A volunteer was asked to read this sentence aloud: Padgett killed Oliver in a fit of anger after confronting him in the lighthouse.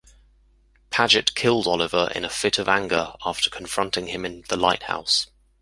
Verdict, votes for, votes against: accepted, 2, 0